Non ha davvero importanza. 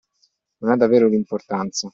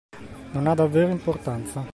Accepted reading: second